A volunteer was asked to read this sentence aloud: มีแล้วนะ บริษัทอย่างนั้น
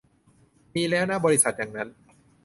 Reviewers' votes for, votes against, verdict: 2, 0, accepted